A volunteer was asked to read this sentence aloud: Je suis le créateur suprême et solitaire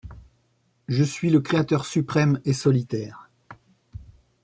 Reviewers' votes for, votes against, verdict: 2, 0, accepted